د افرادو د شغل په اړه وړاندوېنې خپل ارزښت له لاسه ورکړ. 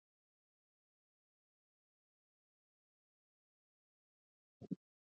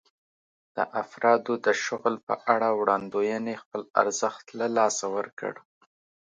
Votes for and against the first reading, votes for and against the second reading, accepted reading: 0, 2, 2, 0, second